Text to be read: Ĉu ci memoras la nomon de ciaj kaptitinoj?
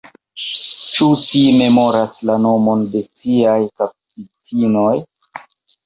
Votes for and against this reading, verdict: 1, 2, rejected